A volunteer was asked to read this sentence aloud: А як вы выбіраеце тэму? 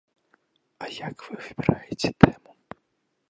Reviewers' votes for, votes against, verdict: 0, 2, rejected